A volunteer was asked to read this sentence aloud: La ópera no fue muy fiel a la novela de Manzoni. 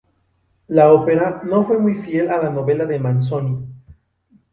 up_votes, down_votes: 2, 0